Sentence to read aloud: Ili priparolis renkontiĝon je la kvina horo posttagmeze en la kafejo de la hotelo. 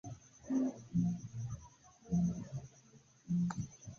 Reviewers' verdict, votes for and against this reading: accepted, 2, 0